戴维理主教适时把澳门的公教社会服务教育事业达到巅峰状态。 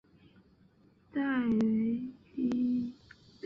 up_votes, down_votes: 0, 3